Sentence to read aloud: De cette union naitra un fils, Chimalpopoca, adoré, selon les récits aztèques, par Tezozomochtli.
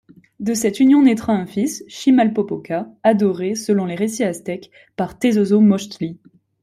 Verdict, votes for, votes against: accepted, 2, 0